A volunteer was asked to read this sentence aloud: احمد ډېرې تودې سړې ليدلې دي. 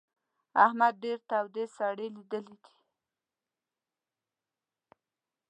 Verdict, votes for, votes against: rejected, 0, 2